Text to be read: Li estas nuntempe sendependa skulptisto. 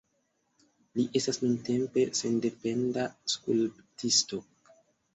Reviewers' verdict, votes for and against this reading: accepted, 2, 0